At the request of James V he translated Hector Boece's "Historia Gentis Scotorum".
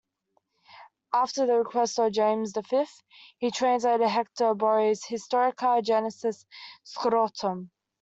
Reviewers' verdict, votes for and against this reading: rejected, 0, 2